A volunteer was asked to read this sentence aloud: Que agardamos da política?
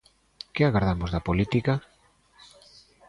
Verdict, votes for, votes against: accepted, 2, 0